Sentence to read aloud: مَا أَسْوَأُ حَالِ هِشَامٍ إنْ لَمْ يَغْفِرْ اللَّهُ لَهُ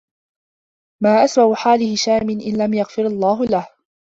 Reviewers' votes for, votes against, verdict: 2, 0, accepted